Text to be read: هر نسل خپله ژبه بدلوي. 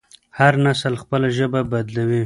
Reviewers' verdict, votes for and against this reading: rejected, 0, 2